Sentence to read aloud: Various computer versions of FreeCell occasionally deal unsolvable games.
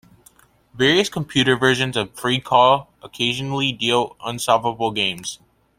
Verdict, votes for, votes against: rejected, 0, 2